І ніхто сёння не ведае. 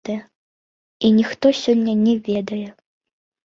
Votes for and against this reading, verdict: 0, 2, rejected